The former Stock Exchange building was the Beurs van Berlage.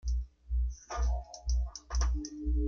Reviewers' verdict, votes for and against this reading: rejected, 0, 2